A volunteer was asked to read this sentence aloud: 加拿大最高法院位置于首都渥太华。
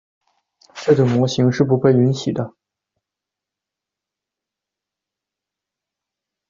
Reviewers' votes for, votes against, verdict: 0, 2, rejected